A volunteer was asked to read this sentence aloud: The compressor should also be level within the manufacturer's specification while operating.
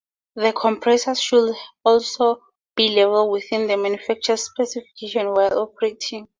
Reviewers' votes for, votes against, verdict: 0, 2, rejected